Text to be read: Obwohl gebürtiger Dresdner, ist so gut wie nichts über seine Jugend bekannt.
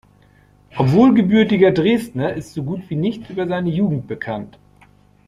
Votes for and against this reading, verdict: 2, 0, accepted